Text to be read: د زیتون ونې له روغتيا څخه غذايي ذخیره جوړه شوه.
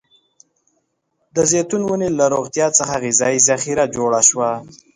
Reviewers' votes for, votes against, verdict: 2, 0, accepted